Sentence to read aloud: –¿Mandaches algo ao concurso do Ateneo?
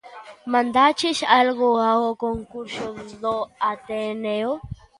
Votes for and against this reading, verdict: 2, 1, accepted